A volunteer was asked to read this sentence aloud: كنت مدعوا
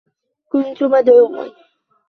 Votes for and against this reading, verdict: 2, 0, accepted